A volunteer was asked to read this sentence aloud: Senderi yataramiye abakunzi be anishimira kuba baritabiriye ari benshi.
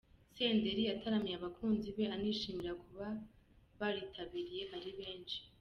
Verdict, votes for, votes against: accepted, 2, 0